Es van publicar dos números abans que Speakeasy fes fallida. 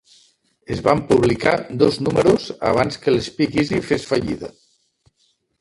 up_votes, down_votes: 2, 0